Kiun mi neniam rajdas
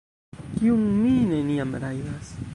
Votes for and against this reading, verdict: 1, 2, rejected